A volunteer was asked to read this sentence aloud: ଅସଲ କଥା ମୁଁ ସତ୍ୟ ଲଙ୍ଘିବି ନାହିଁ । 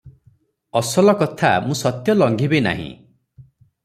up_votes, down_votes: 3, 0